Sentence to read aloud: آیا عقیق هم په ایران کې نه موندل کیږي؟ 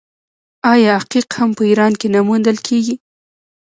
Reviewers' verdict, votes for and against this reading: accepted, 2, 1